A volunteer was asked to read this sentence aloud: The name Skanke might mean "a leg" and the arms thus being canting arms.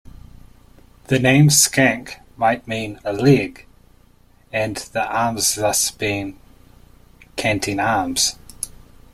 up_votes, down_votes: 2, 0